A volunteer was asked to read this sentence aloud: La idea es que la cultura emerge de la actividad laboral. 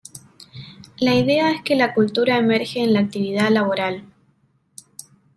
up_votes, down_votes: 1, 2